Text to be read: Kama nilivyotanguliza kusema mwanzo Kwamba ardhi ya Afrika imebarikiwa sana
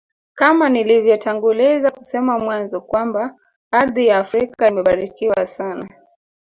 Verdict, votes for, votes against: accepted, 2, 0